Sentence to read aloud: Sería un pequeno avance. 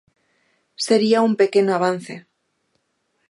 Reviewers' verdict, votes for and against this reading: accepted, 3, 0